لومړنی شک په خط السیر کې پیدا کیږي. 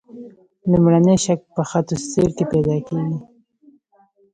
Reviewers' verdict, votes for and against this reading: rejected, 1, 2